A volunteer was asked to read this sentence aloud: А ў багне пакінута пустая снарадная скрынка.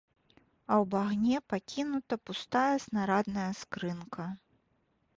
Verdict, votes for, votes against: accepted, 2, 0